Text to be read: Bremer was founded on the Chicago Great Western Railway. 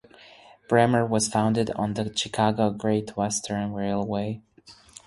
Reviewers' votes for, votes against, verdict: 4, 0, accepted